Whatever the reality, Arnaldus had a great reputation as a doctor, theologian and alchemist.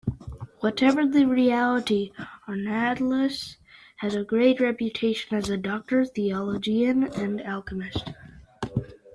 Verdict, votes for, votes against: accepted, 2, 1